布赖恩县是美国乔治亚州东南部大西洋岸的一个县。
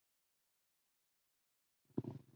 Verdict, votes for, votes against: rejected, 1, 2